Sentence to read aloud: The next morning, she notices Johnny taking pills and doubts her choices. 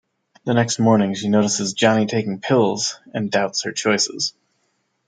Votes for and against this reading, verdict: 2, 0, accepted